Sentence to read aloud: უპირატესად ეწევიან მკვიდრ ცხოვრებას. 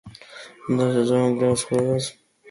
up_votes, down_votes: 0, 2